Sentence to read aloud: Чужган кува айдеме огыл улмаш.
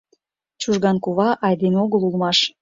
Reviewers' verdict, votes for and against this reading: accepted, 2, 0